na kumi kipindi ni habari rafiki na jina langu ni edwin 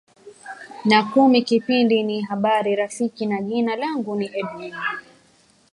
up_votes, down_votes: 0, 2